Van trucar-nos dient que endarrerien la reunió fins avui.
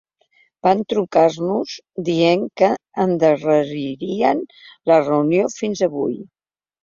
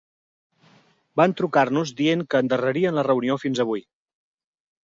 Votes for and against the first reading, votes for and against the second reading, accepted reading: 2, 3, 4, 0, second